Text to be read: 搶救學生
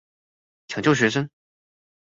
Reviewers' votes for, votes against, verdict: 2, 0, accepted